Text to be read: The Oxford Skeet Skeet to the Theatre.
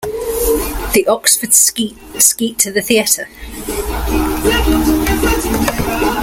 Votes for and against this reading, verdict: 1, 2, rejected